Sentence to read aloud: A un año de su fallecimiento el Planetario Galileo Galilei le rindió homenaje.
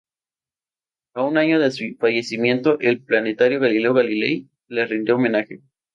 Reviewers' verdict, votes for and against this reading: accepted, 2, 0